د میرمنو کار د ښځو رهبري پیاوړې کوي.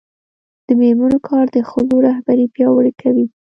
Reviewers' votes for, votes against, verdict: 1, 2, rejected